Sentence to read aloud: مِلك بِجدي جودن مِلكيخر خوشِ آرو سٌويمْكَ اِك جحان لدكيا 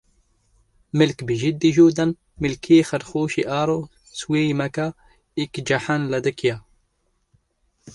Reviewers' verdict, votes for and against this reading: rejected, 1, 2